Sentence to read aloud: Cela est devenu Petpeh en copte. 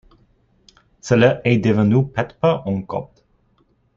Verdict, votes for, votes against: accepted, 2, 1